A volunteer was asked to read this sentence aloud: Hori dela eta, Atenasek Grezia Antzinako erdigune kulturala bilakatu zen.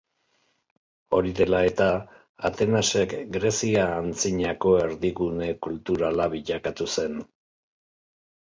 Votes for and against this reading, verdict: 4, 0, accepted